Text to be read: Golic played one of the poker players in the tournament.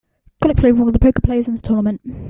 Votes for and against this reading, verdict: 1, 2, rejected